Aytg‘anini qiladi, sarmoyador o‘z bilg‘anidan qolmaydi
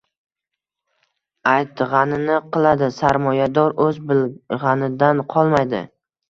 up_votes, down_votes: 1, 2